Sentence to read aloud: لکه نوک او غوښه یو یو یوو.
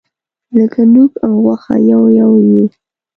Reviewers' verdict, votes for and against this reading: rejected, 1, 2